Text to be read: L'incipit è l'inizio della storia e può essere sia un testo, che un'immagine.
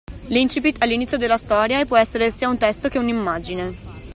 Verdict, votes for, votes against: accepted, 2, 0